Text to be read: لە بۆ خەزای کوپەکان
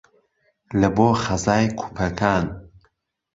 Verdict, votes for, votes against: accepted, 3, 0